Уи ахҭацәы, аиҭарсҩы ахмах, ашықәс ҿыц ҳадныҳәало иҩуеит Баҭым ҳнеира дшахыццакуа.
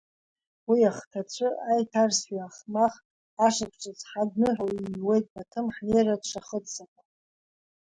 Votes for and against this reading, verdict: 1, 2, rejected